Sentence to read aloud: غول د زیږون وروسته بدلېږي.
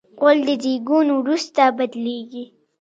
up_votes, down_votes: 1, 2